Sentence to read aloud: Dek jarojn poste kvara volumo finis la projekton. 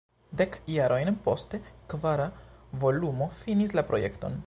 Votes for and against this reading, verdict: 1, 2, rejected